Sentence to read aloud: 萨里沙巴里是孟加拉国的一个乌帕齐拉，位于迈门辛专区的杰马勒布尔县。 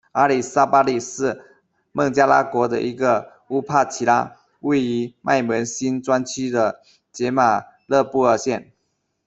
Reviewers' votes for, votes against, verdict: 0, 2, rejected